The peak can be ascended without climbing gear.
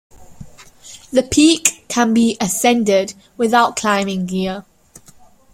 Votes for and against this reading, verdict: 2, 0, accepted